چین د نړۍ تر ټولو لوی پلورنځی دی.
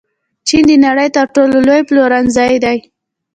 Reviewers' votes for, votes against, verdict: 1, 2, rejected